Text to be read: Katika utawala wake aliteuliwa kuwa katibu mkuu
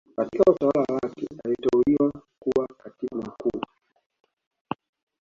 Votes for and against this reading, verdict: 1, 2, rejected